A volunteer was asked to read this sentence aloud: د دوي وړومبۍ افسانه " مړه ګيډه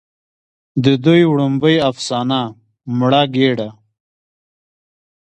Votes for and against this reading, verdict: 2, 0, accepted